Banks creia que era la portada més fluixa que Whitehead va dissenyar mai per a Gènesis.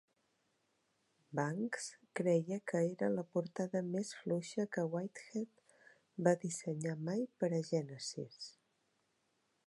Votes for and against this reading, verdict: 1, 2, rejected